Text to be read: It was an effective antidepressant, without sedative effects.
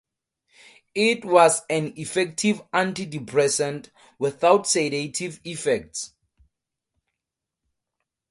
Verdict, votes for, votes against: accepted, 4, 0